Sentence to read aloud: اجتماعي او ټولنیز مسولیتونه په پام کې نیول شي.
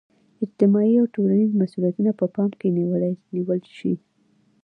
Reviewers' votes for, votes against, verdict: 0, 2, rejected